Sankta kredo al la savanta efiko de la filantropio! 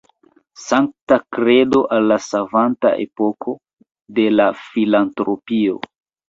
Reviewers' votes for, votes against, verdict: 0, 2, rejected